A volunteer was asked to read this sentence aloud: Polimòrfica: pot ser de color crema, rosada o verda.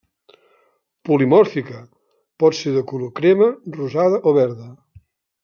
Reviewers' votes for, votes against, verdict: 2, 0, accepted